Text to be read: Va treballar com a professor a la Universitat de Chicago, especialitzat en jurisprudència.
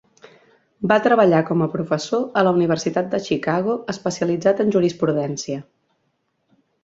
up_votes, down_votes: 5, 1